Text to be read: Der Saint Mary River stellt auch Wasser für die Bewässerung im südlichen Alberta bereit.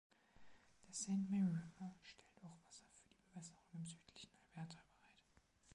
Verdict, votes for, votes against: rejected, 1, 2